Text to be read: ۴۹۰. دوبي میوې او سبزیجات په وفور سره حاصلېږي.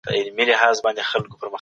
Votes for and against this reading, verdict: 0, 2, rejected